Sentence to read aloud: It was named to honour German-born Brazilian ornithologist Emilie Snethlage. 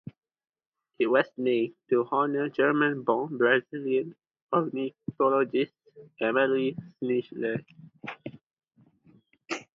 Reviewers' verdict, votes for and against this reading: accepted, 2, 0